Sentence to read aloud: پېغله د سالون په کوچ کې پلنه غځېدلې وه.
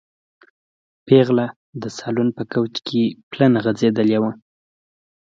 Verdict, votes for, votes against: accepted, 2, 0